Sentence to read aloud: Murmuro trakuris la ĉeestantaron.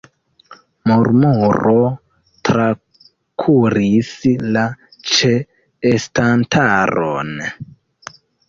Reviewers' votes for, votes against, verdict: 1, 2, rejected